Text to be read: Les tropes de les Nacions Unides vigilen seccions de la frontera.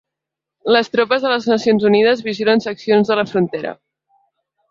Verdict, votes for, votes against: accepted, 2, 0